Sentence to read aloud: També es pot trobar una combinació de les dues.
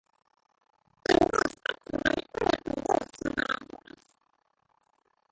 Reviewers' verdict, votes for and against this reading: rejected, 0, 2